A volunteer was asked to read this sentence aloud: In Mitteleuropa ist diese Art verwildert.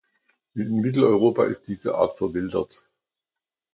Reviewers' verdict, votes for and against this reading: accepted, 2, 0